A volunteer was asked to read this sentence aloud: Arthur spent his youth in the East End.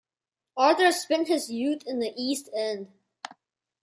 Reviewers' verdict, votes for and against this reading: accepted, 2, 0